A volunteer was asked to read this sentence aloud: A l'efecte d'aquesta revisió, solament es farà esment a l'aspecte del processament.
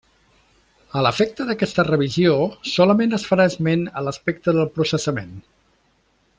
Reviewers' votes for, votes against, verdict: 3, 0, accepted